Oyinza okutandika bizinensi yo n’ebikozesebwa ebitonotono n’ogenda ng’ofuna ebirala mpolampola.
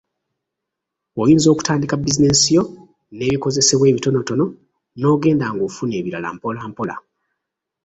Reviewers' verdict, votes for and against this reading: rejected, 1, 2